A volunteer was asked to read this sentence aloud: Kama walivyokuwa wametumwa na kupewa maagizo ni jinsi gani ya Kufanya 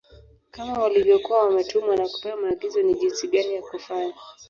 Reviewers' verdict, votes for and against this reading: rejected, 1, 3